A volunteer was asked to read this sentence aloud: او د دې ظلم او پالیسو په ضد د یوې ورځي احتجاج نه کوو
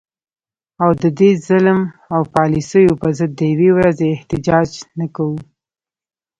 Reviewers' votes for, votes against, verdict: 2, 0, accepted